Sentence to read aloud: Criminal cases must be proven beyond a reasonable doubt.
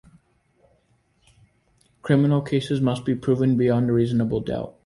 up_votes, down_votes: 2, 0